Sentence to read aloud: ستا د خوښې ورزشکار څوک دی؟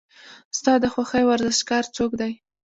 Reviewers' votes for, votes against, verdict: 2, 0, accepted